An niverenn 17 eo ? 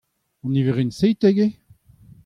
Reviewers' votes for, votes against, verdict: 0, 2, rejected